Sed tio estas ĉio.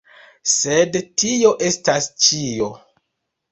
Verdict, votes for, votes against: accepted, 2, 1